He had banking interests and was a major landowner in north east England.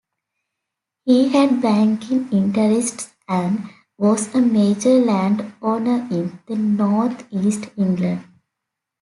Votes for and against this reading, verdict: 0, 2, rejected